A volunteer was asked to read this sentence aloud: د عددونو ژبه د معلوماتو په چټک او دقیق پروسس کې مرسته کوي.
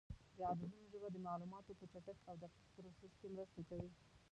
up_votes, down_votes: 0, 2